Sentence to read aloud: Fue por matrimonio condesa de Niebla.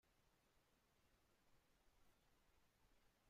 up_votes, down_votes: 0, 2